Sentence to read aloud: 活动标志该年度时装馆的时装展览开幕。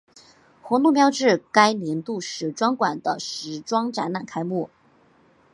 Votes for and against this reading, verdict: 5, 0, accepted